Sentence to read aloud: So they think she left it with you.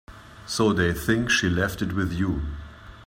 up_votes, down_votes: 4, 0